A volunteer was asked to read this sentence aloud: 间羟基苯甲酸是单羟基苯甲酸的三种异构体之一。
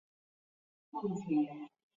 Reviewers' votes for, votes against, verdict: 1, 4, rejected